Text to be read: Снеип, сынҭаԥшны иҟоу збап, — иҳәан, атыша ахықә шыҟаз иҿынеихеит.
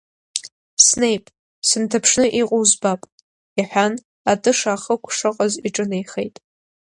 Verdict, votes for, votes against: accepted, 2, 0